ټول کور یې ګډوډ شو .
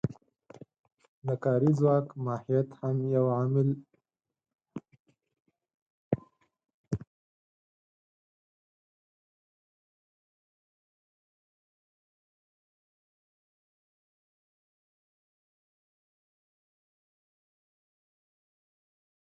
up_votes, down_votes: 0, 4